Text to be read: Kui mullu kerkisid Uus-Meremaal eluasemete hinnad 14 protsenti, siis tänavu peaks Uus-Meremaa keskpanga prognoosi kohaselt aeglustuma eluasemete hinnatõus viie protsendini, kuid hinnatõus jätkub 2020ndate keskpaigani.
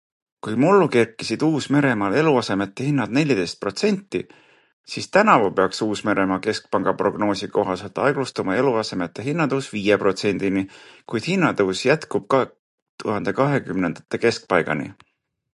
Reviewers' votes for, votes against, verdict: 0, 2, rejected